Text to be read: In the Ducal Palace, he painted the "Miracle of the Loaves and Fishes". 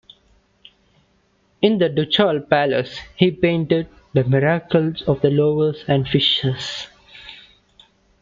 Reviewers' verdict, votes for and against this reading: rejected, 1, 2